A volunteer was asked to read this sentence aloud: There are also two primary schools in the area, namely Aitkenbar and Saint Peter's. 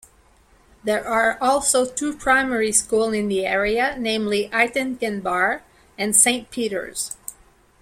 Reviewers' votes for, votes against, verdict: 2, 1, accepted